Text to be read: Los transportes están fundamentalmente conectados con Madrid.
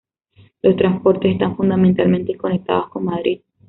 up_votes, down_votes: 2, 0